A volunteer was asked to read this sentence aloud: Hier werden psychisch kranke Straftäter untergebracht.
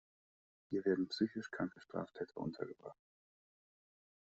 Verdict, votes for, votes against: accepted, 2, 0